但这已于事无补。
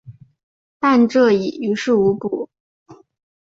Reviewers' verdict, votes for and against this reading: accepted, 3, 0